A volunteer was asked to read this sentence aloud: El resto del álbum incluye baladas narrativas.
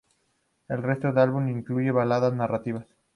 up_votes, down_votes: 2, 0